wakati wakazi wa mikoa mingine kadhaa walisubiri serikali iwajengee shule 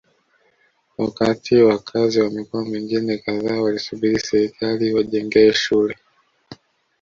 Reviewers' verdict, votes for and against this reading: accepted, 2, 0